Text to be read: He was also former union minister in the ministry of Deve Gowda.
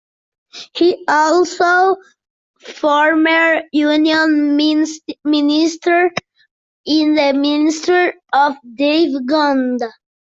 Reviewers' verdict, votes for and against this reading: rejected, 0, 2